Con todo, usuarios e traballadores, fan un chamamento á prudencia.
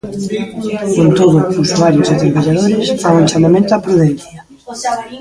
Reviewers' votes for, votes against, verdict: 0, 2, rejected